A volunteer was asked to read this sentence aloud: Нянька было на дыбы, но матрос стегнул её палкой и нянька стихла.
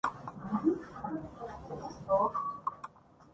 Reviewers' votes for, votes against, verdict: 0, 2, rejected